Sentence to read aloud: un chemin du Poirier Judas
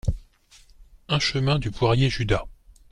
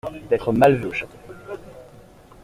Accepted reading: first